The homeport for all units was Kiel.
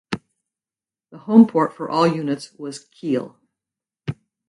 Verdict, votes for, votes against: accepted, 2, 0